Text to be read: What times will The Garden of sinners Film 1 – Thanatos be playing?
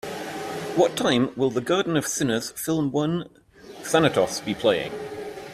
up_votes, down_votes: 0, 2